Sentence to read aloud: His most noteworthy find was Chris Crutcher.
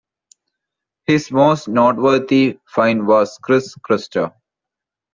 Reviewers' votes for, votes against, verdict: 2, 0, accepted